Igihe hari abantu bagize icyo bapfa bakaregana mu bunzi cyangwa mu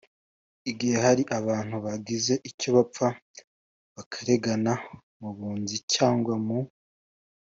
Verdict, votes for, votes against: accepted, 2, 0